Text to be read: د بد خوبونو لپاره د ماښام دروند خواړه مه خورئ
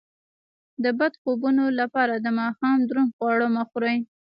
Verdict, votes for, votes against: rejected, 0, 2